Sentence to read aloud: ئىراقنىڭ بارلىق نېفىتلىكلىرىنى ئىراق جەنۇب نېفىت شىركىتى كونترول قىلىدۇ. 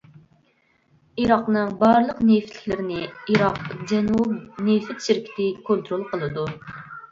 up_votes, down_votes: 0, 2